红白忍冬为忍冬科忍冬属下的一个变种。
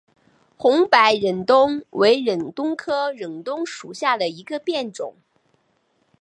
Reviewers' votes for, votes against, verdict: 1, 2, rejected